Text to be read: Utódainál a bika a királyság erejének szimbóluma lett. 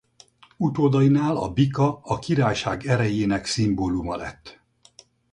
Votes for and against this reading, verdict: 4, 0, accepted